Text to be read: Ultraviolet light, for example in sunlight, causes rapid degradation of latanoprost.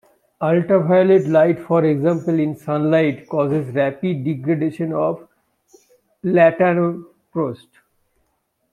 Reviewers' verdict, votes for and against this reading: rejected, 1, 2